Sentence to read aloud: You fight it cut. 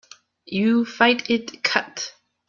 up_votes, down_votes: 3, 1